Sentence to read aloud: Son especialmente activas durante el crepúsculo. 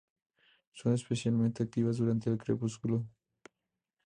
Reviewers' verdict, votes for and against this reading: accepted, 4, 0